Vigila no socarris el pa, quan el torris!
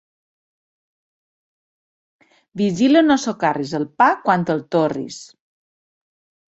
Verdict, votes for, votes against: rejected, 1, 3